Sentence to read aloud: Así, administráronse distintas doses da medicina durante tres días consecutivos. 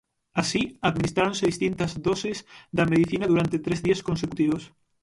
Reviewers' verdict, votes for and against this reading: accepted, 6, 0